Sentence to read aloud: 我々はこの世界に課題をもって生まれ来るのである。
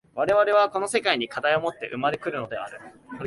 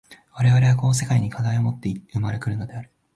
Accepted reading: first